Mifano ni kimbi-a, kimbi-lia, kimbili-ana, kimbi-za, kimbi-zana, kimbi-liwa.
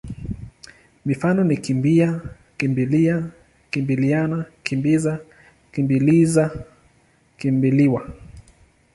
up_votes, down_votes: 0, 2